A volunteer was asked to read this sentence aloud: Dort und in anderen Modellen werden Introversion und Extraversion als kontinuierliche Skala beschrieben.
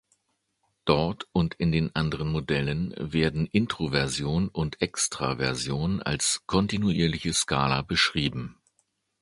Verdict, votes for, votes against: rejected, 1, 2